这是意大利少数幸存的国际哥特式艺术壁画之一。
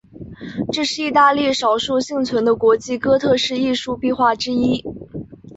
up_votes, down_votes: 3, 1